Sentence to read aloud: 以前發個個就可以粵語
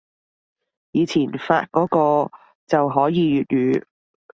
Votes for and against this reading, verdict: 0, 2, rejected